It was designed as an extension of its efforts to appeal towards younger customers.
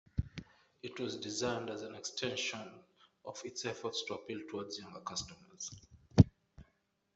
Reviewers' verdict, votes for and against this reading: accepted, 2, 0